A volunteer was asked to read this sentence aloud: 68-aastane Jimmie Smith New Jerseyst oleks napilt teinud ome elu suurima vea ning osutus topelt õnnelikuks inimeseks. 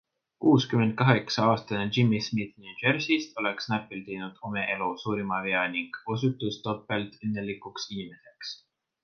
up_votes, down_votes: 0, 2